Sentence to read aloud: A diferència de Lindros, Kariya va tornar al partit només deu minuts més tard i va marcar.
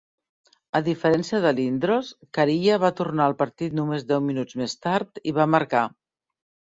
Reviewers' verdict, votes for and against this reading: accepted, 2, 0